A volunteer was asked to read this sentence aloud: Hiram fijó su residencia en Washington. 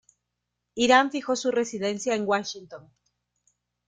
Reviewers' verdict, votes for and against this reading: accepted, 2, 0